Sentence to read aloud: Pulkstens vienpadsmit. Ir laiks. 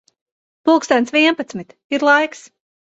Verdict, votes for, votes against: accepted, 3, 0